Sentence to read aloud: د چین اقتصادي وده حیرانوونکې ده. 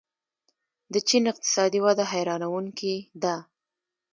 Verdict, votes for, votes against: rejected, 1, 2